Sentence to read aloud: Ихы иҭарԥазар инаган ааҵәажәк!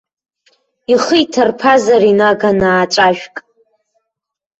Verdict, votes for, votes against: rejected, 1, 2